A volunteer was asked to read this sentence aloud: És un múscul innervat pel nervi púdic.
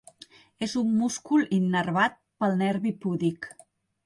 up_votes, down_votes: 2, 0